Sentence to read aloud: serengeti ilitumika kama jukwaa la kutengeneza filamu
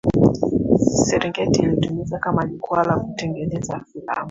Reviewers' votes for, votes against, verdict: 1, 2, rejected